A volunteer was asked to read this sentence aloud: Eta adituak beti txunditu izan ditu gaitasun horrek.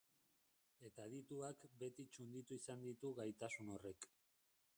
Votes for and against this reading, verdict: 0, 2, rejected